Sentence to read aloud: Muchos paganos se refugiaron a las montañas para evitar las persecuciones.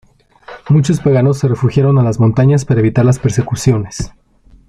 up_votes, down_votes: 5, 0